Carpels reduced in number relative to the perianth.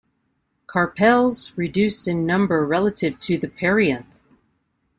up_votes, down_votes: 2, 0